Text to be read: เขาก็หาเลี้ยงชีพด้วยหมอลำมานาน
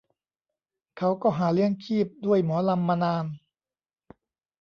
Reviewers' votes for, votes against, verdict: 1, 2, rejected